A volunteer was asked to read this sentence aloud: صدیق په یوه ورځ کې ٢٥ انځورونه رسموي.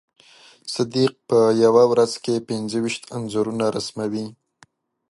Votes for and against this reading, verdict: 0, 2, rejected